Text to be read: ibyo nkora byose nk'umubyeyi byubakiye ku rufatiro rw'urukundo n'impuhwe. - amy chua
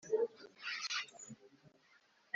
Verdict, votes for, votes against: rejected, 2, 3